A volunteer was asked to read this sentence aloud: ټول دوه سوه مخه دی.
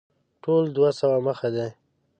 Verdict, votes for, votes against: accepted, 2, 0